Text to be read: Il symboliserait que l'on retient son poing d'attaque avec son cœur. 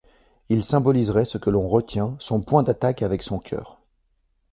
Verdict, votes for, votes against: rejected, 0, 2